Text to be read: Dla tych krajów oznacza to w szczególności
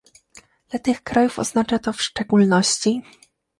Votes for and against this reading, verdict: 2, 0, accepted